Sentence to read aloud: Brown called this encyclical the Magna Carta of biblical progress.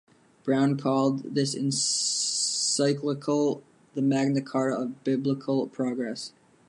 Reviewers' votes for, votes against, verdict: 1, 2, rejected